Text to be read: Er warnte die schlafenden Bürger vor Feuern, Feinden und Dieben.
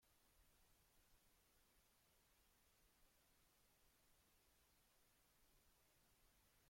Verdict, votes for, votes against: rejected, 0, 2